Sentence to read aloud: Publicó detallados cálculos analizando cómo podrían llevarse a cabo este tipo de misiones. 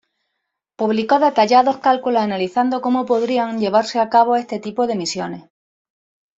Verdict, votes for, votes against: accepted, 2, 0